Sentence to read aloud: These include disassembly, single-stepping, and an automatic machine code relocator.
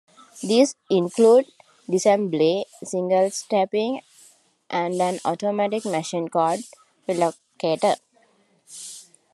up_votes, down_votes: 0, 2